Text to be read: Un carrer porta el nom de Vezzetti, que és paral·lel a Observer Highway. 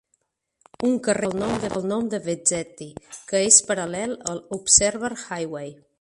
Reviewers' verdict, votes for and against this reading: rejected, 0, 2